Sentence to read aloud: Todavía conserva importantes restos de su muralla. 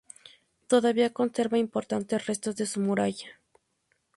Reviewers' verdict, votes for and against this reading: accepted, 2, 0